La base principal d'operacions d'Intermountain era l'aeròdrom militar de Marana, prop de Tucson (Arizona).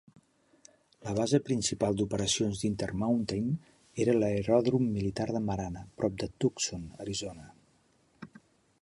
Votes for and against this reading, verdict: 2, 0, accepted